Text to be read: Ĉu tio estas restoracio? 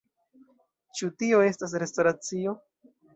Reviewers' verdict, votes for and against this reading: accepted, 2, 0